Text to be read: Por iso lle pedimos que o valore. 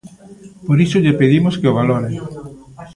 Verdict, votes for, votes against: rejected, 0, 2